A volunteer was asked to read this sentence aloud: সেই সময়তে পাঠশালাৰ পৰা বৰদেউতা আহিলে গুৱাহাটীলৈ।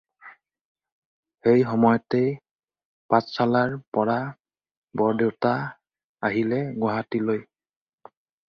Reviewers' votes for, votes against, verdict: 4, 0, accepted